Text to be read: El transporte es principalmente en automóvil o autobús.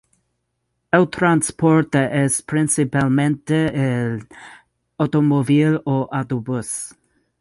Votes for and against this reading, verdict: 2, 2, rejected